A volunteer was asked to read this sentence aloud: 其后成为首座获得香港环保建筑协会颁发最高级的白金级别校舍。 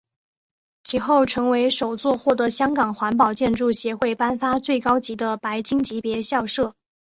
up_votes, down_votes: 6, 1